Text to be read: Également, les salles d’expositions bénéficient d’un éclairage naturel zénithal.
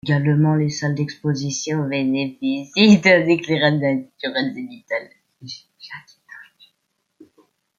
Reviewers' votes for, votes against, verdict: 0, 2, rejected